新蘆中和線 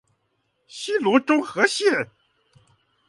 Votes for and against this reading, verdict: 0, 2, rejected